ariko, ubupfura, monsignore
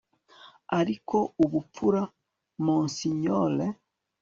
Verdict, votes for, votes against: accepted, 3, 0